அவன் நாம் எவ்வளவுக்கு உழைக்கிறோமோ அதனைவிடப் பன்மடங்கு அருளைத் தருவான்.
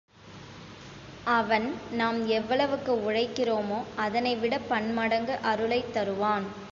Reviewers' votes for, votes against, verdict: 2, 0, accepted